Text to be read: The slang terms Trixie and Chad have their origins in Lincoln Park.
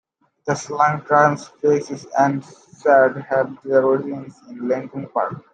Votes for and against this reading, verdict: 0, 2, rejected